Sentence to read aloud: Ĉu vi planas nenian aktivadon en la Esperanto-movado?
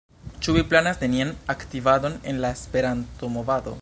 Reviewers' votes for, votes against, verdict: 2, 0, accepted